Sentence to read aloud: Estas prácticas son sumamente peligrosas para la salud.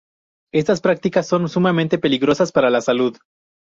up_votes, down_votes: 2, 0